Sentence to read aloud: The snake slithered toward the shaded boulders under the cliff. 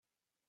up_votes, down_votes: 2, 23